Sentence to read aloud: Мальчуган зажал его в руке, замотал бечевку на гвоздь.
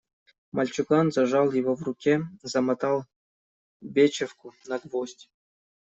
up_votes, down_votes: 1, 2